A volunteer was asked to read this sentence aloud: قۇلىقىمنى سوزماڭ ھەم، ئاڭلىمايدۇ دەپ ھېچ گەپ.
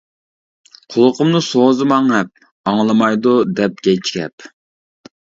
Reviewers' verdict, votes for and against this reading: rejected, 1, 2